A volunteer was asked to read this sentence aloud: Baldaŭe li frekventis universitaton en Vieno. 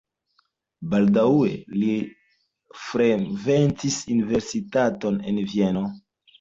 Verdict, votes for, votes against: accepted, 2, 0